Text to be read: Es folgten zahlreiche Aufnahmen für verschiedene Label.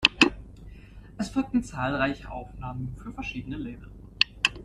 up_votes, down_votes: 2, 0